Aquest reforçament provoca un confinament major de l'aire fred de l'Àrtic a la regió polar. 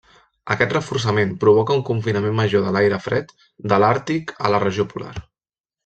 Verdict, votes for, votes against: accepted, 3, 1